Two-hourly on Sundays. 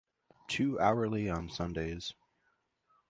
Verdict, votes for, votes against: accepted, 2, 0